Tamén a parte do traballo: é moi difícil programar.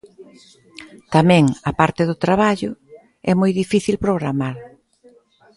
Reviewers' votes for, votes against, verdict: 2, 0, accepted